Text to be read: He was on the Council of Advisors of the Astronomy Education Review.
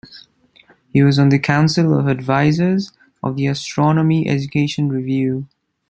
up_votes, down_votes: 2, 0